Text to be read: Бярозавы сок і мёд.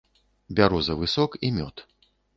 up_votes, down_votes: 2, 0